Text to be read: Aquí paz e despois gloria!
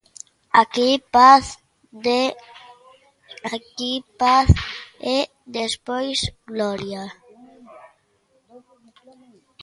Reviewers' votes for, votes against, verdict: 0, 2, rejected